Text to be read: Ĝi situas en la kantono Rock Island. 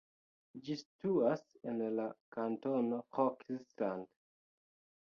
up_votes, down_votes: 1, 2